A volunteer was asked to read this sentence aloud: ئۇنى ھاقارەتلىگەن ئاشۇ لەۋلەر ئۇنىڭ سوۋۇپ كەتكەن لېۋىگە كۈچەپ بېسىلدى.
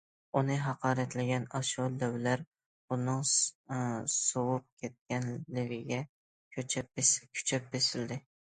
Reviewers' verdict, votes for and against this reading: rejected, 0, 2